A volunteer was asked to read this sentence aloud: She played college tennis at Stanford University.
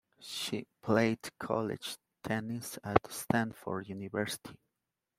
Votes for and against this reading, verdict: 1, 2, rejected